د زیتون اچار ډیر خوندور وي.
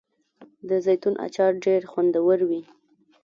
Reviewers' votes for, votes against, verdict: 2, 0, accepted